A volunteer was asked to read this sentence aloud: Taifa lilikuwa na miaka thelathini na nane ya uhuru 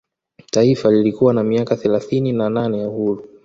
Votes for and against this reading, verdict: 2, 1, accepted